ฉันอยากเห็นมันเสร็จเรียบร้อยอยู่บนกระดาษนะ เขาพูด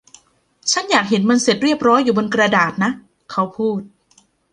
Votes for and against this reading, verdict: 0, 2, rejected